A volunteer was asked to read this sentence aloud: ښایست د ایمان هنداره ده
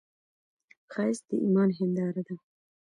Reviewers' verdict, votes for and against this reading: rejected, 1, 2